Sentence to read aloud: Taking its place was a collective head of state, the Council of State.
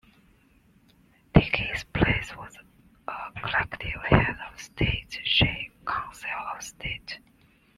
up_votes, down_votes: 1, 2